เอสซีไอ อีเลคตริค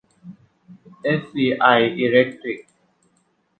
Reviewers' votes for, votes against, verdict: 2, 0, accepted